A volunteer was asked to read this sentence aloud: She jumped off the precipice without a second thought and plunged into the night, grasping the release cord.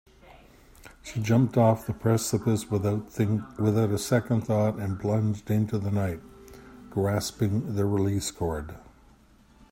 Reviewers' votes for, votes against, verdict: 2, 1, accepted